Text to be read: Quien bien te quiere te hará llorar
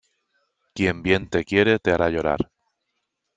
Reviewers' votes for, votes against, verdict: 3, 0, accepted